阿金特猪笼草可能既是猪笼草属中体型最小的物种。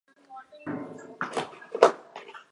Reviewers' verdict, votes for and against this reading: rejected, 1, 3